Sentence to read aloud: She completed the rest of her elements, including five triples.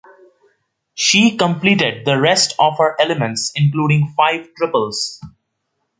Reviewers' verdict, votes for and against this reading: accepted, 2, 0